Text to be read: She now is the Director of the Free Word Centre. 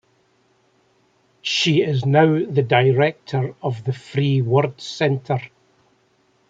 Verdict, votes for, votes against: rejected, 1, 2